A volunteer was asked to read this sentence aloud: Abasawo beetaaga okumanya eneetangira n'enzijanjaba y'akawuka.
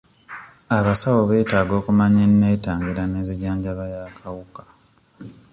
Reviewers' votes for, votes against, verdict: 2, 0, accepted